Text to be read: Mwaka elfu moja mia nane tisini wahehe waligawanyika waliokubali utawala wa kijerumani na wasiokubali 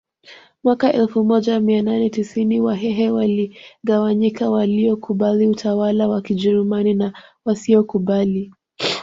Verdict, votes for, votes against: accepted, 2, 0